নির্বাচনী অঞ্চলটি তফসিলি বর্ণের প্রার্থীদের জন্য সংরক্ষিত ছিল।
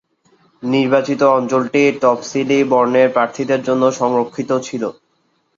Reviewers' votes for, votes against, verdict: 1, 2, rejected